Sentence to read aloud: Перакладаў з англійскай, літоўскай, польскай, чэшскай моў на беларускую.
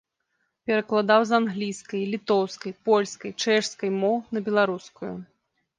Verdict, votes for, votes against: accepted, 2, 0